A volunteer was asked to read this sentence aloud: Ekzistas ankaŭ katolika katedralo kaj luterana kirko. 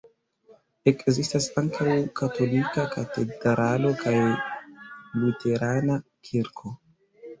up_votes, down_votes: 1, 2